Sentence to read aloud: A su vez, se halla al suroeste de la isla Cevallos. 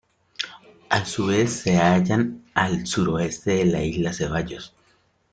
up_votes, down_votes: 0, 2